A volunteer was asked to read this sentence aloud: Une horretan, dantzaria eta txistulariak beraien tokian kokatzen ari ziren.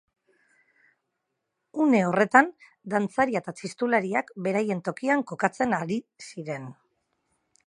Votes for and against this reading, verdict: 4, 2, accepted